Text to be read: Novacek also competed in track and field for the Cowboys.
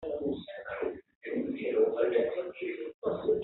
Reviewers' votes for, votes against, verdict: 0, 2, rejected